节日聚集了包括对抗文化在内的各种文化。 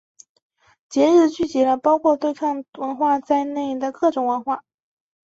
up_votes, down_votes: 2, 0